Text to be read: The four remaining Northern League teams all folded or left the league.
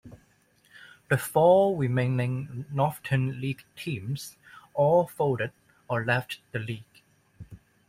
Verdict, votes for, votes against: rejected, 1, 2